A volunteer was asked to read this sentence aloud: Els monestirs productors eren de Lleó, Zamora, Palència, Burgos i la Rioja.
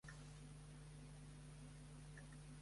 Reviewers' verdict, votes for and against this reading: rejected, 1, 2